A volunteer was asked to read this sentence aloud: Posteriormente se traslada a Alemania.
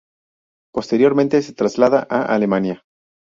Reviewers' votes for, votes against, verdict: 0, 2, rejected